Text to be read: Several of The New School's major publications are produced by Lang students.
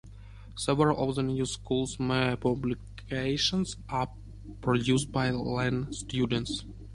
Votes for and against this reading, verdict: 0, 2, rejected